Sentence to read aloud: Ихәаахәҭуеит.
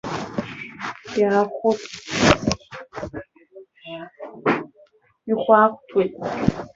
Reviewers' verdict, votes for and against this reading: rejected, 0, 2